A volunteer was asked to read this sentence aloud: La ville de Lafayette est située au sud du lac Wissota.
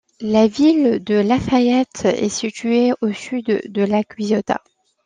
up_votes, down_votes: 0, 2